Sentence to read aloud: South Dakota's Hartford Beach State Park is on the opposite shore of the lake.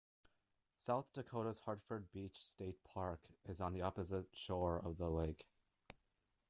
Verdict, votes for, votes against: rejected, 0, 2